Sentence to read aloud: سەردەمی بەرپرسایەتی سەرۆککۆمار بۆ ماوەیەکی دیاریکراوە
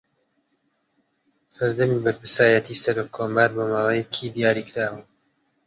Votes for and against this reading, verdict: 2, 0, accepted